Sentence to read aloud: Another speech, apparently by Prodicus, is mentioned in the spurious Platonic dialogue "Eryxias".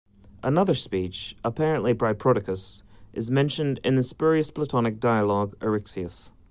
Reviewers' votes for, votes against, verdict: 2, 0, accepted